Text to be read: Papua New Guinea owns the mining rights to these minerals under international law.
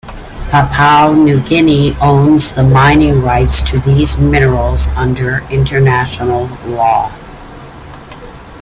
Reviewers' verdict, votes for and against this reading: accepted, 2, 0